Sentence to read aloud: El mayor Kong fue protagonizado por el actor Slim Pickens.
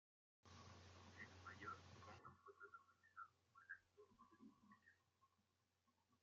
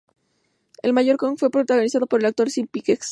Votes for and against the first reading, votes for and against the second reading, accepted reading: 0, 2, 2, 0, second